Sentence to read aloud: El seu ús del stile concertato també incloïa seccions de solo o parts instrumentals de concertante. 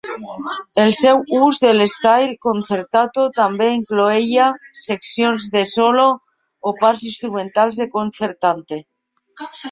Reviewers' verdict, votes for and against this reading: rejected, 1, 2